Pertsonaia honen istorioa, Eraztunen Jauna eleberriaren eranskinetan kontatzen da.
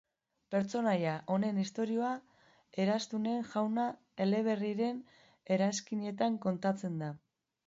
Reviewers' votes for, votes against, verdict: 1, 2, rejected